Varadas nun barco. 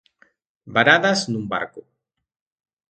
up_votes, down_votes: 2, 0